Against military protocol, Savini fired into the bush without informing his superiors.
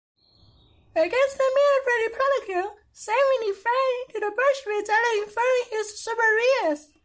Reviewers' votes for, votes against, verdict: 1, 2, rejected